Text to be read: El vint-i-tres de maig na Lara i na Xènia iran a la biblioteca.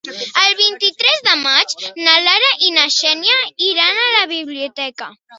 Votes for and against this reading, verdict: 3, 0, accepted